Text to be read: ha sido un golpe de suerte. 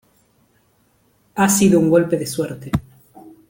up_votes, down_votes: 2, 0